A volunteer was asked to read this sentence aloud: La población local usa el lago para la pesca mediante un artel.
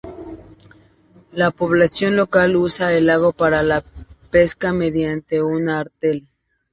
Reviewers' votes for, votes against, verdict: 2, 0, accepted